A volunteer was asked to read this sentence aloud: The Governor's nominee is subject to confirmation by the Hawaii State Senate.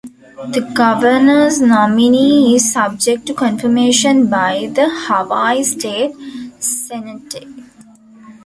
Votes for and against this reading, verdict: 1, 2, rejected